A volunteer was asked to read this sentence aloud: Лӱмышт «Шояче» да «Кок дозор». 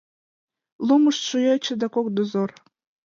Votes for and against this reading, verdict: 1, 2, rejected